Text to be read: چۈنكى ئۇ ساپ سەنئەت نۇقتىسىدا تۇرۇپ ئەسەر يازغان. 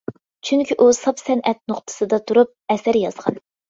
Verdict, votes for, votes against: accepted, 2, 0